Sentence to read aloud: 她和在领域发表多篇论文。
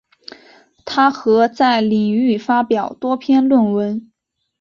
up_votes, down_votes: 5, 0